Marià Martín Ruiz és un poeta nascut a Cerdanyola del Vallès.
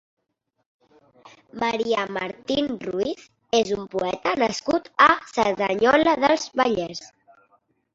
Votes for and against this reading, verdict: 0, 2, rejected